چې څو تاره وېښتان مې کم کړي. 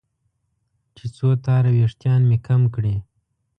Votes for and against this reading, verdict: 2, 0, accepted